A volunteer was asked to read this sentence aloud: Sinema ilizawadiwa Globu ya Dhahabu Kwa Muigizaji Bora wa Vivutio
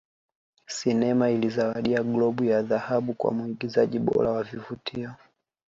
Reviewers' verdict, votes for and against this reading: accepted, 2, 1